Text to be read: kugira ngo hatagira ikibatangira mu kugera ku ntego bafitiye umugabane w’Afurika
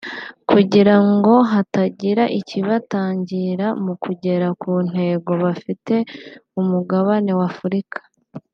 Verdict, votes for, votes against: rejected, 0, 2